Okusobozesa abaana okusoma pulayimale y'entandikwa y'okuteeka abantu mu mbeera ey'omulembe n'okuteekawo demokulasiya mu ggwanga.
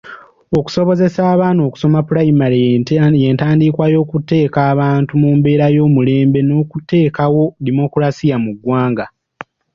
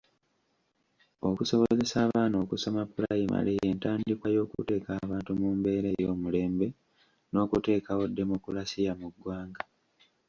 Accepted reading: first